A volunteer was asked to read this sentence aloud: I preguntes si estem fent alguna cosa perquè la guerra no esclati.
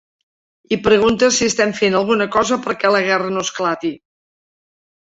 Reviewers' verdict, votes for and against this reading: accepted, 2, 0